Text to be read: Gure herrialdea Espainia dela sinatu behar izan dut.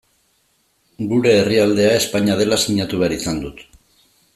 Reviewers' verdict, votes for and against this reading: accepted, 2, 0